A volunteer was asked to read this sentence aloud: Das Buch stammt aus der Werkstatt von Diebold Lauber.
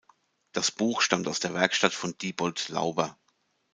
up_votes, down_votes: 2, 0